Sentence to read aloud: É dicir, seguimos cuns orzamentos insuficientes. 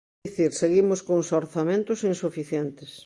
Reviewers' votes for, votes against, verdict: 0, 2, rejected